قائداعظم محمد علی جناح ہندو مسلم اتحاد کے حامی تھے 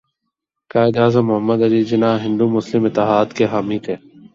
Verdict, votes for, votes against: accepted, 11, 1